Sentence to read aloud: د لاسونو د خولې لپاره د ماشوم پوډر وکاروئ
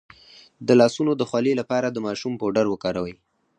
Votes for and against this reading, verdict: 2, 4, rejected